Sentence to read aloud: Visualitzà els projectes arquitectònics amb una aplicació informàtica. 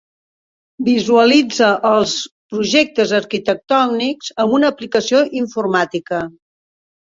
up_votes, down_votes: 0, 2